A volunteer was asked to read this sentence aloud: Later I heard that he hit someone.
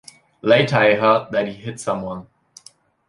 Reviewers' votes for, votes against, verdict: 2, 0, accepted